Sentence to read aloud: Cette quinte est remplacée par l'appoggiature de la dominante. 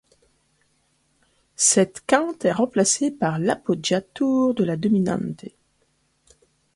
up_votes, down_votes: 0, 2